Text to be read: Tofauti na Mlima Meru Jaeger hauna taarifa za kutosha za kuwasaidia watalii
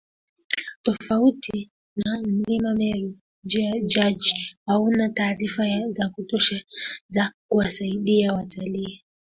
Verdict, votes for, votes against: accepted, 2, 1